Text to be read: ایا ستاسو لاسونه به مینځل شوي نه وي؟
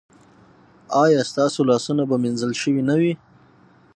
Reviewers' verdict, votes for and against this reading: accepted, 6, 0